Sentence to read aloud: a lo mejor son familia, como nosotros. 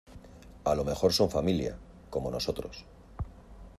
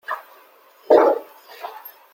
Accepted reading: first